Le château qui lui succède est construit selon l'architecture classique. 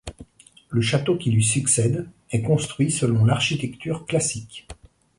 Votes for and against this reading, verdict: 2, 0, accepted